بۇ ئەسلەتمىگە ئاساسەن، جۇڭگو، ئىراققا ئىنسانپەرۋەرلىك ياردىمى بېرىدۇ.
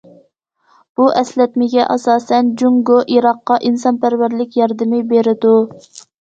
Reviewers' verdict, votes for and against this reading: accepted, 2, 0